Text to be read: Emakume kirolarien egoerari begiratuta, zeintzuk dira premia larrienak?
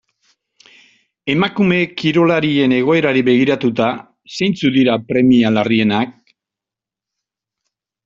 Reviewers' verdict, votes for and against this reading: accepted, 2, 0